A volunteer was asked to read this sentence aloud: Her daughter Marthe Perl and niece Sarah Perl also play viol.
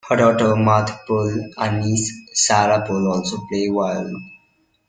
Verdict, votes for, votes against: rejected, 0, 2